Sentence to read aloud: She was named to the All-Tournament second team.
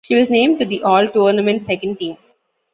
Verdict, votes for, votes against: accepted, 2, 0